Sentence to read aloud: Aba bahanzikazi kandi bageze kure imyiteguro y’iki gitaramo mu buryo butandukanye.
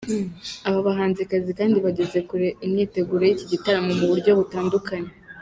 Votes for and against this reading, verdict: 0, 2, rejected